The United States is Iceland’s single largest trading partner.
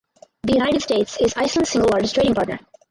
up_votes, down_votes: 0, 4